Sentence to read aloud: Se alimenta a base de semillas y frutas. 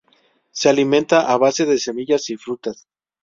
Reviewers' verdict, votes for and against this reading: accepted, 2, 0